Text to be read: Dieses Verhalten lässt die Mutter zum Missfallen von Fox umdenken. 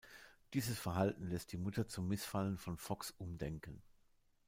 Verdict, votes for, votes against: accepted, 2, 0